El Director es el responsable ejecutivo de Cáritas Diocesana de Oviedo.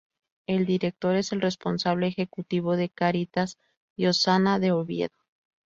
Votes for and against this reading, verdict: 0, 2, rejected